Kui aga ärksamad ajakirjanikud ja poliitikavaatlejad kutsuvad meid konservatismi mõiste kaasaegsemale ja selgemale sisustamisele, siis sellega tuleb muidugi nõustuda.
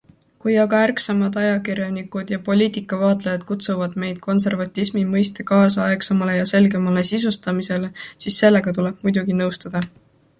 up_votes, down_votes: 2, 0